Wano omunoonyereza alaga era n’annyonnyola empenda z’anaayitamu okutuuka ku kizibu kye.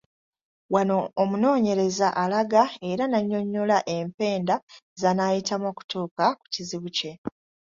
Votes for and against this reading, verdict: 2, 0, accepted